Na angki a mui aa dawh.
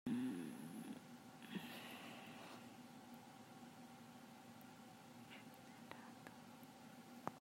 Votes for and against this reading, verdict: 0, 2, rejected